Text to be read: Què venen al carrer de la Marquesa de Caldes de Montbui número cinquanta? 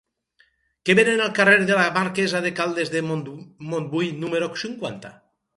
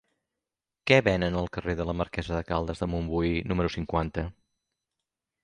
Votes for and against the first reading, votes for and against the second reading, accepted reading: 2, 4, 3, 0, second